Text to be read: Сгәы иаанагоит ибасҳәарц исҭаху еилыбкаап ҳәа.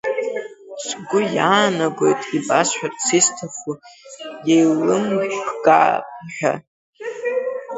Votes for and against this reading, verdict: 0, 2, rejected